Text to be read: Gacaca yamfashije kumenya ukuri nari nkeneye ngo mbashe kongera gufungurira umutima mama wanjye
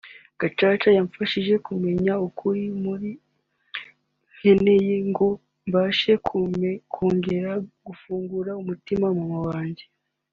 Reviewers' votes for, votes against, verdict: 0, 2, rejected